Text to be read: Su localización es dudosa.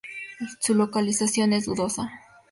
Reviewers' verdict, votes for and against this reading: rejected, 2, 2